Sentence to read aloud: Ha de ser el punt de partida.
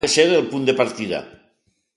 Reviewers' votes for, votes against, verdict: 0, 2, rejected